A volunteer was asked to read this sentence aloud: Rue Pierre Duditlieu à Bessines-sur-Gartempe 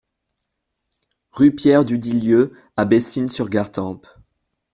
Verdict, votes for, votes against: rejected, 0, 2